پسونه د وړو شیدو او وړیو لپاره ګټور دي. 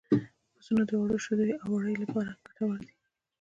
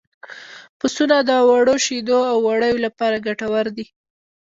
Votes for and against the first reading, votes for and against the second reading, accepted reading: 2, 0, 0, 2, first